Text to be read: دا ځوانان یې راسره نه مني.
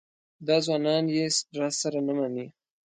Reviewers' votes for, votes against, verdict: 2, 0, accepted